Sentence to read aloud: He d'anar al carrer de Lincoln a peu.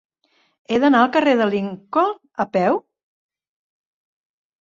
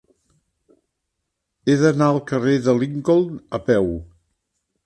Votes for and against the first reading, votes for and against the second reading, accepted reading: 1, 2, 3, 0, second